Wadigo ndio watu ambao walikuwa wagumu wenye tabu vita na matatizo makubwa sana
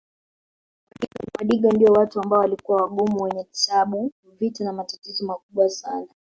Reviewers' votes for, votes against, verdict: 1, 3, rejected